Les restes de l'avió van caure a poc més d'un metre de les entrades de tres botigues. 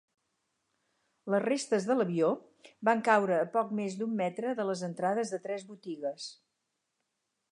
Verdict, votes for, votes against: accepted, 4, 0